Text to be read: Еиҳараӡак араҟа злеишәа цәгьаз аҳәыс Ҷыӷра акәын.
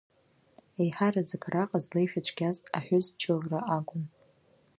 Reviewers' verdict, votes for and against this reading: rejected, 0, 2